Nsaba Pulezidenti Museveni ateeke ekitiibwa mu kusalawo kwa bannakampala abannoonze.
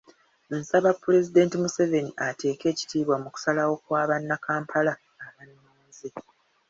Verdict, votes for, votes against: rejected, 1, 2